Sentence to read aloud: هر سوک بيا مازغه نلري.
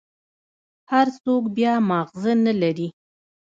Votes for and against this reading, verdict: 0, 2, rejected